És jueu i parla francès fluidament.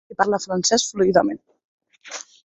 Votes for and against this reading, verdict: 1, 2, rejected